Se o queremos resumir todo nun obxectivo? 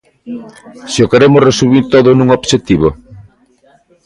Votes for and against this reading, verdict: 0, 2, rejected